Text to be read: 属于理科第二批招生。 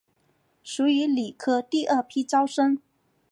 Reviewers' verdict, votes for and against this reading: accepted, 2, 0